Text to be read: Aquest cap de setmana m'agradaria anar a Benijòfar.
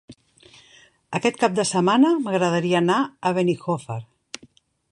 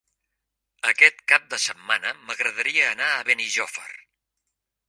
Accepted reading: second